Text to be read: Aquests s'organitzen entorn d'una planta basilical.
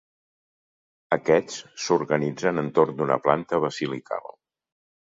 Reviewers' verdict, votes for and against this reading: accepted, 2, 0